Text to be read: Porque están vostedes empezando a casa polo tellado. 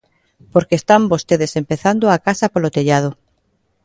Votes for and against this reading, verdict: 2, 0, accepted